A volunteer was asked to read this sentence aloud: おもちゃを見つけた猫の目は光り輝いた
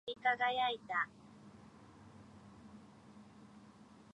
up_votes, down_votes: 1, 2